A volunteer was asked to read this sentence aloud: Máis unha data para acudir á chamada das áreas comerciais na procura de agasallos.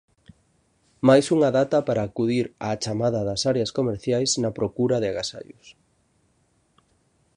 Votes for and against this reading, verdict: 2, 0, accepted